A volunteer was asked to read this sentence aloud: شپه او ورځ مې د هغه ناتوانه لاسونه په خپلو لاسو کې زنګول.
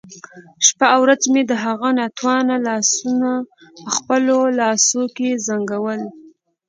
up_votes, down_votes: 2, 0